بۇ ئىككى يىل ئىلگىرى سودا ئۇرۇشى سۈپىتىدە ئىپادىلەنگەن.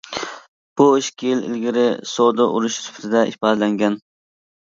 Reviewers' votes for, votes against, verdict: 2, 0, accepted